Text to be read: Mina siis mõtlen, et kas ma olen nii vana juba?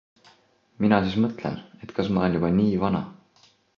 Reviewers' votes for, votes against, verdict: 0, 2, rejected